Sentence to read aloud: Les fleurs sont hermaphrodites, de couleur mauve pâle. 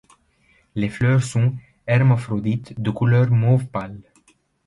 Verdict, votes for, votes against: rejected, 1, 2